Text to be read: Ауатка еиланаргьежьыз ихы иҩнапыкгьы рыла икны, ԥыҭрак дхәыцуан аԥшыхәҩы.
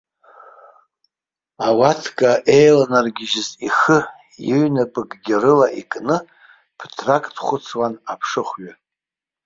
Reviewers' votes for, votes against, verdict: 2, 1, accepted